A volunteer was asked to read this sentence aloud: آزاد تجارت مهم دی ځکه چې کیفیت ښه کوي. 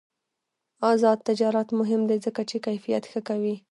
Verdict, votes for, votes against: rejected, 1, 2